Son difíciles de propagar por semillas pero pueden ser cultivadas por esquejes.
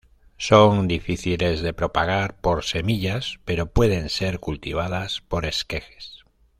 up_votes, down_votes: 2, 0